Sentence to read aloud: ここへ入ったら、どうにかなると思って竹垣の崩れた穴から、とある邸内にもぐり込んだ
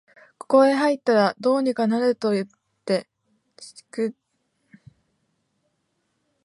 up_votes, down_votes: 0, 2